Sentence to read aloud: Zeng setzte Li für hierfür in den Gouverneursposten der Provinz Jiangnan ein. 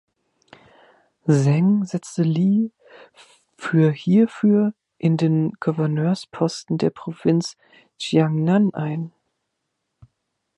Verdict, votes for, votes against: rejected, 3, 4